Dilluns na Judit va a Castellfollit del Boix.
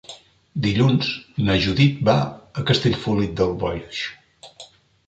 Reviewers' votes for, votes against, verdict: 2, 3, rejected